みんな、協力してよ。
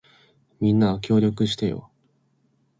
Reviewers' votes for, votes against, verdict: 2, 0, accepted